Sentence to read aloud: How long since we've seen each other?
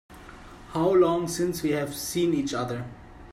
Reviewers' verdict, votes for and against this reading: rejected, 1, 2